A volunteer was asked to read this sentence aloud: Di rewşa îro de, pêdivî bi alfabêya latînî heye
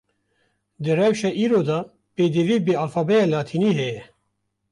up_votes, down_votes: 1, 2